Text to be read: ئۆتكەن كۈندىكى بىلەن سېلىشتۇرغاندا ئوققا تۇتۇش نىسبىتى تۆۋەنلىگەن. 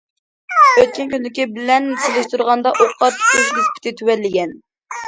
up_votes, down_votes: 1, 2